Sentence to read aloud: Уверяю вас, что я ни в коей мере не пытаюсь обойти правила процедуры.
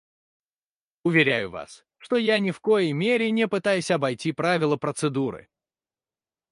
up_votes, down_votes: 2, 4